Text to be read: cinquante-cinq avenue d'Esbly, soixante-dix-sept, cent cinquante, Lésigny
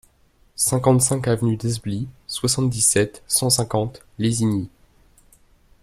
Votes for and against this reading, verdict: 2, 0, accepted